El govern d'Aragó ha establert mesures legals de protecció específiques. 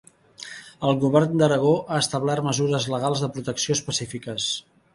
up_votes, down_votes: 2, 0